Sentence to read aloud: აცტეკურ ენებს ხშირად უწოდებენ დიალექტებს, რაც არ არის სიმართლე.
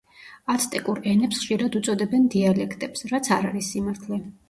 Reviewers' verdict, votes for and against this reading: accepted, 2, 0